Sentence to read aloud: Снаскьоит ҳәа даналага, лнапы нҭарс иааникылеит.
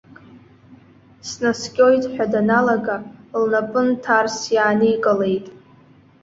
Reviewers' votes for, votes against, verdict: 2, 0, accepted